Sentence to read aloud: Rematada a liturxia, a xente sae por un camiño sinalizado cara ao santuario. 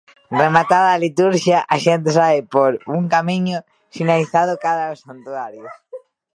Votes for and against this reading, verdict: 0, 2, rejected